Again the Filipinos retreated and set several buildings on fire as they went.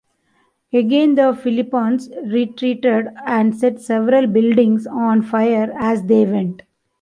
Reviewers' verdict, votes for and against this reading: rejected, 0, 2